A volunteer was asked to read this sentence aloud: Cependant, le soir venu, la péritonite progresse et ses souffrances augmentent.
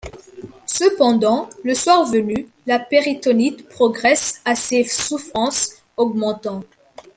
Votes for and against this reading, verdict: 1, 2, rejected